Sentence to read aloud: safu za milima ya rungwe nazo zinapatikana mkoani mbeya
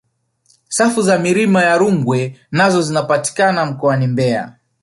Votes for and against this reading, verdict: 1, 2, rejected